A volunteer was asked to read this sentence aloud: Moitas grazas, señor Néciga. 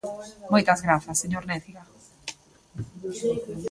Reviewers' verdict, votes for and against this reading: rejected, 0, 2